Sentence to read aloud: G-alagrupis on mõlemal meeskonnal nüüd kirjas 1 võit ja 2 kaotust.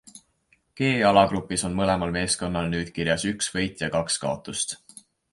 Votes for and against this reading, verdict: 0, 2, rejected